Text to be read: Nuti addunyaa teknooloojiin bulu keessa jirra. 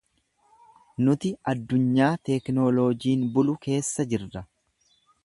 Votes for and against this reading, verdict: 2, 0, accepted